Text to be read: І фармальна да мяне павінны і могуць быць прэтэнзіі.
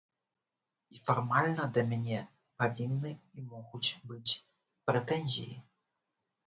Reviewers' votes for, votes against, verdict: 1, 2, rejected